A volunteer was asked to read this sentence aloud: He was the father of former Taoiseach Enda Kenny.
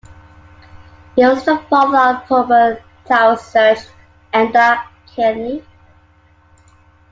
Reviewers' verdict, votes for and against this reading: rejected, 0, 2